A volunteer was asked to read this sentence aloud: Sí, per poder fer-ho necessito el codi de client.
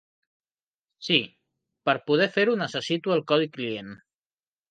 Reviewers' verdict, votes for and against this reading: rejected, 1, 2